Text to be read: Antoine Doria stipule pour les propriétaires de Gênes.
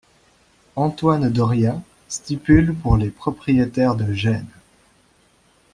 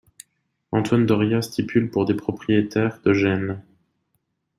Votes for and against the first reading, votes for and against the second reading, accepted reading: 2, 0, 1, 2, first